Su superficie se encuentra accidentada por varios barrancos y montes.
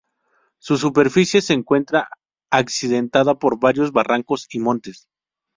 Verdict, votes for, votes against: accepted, 2, 0